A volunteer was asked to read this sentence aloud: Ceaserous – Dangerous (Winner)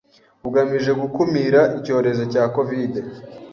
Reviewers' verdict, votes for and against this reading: rejected, 1, 2